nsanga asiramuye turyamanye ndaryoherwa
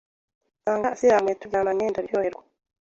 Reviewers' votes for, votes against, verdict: 1, 2, rejected